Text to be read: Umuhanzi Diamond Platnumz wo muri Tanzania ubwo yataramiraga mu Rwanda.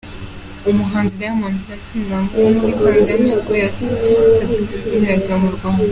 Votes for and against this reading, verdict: 2, 0, accepted